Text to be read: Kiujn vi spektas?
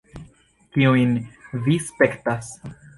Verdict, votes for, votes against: rejected, 1, 2